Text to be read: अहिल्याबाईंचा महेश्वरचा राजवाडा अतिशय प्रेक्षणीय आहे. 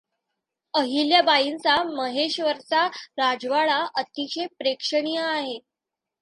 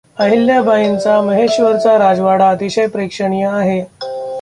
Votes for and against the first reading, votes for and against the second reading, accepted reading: 2, 0, 0, 2, first